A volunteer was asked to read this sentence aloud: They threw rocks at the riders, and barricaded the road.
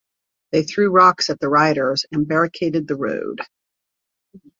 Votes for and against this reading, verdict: 2, 0, accepted